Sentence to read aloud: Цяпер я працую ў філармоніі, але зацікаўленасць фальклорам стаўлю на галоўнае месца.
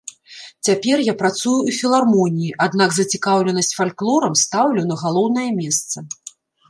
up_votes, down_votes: 2, 3